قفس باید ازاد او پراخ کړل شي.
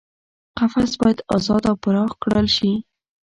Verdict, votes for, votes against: rejected, 1, 2